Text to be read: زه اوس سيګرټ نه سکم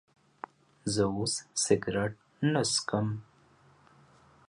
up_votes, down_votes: 2, 0